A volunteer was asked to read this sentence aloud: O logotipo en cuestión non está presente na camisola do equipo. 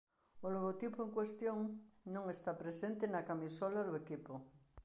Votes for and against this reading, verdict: 1, 2, rejected